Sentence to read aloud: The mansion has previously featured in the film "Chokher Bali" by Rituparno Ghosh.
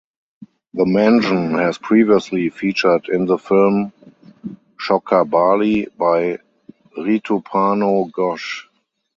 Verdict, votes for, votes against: rejected, 0, 4